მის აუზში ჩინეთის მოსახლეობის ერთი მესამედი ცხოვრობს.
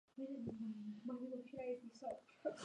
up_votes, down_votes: 0, 2